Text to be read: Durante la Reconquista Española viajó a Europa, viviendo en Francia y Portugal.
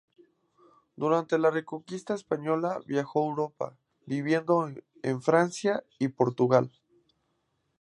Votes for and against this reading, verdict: 2, 0, accepted